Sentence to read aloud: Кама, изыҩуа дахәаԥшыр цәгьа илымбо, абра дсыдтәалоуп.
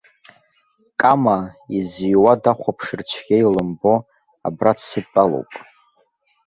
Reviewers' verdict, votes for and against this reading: rejected, 1, 2